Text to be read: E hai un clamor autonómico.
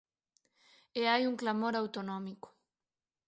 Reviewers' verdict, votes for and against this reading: accepted, 4, 0